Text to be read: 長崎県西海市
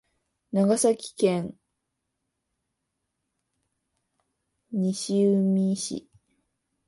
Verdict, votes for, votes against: rejected, 0, 2